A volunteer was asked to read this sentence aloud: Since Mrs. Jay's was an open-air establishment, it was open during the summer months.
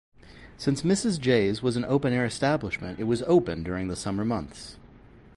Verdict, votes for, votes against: rejected, 0, 2